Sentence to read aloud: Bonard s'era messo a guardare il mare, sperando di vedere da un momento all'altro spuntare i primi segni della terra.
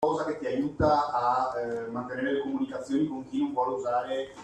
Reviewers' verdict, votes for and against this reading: rejected, 0, 2